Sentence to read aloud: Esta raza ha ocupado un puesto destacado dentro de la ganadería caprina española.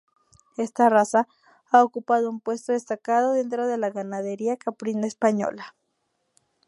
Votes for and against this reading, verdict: 0, 2, rejected